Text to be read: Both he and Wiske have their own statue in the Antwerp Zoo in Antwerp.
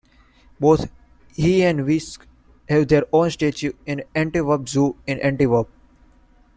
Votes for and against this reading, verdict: 1, 2, rejected